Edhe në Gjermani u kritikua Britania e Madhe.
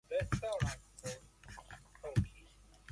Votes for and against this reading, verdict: 0, 2, rejected